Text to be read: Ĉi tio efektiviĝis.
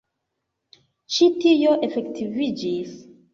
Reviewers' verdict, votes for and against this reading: accepted, 2, 1